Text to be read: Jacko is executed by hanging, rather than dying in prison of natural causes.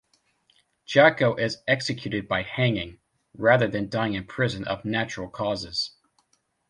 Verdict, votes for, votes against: accepted, 2, 0